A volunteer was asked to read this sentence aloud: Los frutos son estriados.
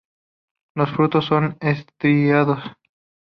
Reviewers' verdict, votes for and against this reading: rejected, 2, 2